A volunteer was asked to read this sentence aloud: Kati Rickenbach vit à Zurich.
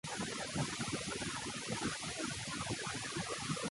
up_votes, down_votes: 0, 2